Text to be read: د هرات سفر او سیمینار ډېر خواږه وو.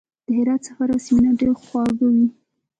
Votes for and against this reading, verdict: 0, 2, rejected